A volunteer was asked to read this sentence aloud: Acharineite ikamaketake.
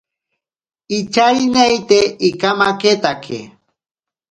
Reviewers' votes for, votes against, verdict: 0, 2, rejected